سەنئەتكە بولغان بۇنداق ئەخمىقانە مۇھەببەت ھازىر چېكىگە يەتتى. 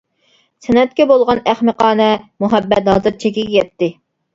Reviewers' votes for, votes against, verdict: 0, 2, rejected